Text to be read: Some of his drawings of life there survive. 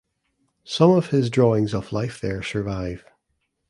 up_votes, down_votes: 2, 0